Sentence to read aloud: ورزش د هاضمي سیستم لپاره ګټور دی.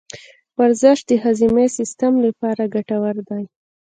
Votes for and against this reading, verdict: 1, 3, rejected